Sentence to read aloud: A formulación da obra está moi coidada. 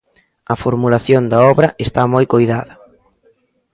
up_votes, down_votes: 2, 0